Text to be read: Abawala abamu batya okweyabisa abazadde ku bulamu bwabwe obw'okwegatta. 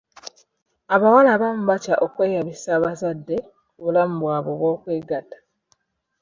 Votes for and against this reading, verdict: 2, 0, accepted